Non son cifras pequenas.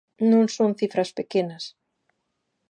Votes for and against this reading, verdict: 2, 0, accepted